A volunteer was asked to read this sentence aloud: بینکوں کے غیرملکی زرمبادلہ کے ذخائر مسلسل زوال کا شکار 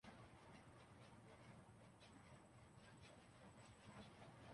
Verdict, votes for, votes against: rejected, 0, 2